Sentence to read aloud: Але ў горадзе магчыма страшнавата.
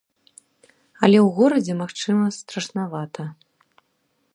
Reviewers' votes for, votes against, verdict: 3, 0, accepted